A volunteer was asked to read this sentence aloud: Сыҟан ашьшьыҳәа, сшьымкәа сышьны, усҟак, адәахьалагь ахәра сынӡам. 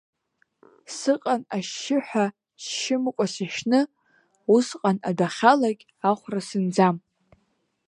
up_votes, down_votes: 1, 2